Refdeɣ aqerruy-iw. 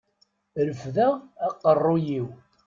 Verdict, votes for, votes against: accepted, 2, 0